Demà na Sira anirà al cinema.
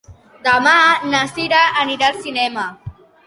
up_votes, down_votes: 2, 1